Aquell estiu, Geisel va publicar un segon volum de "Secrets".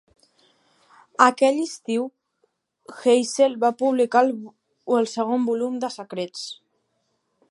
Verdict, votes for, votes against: rejected, 1, 3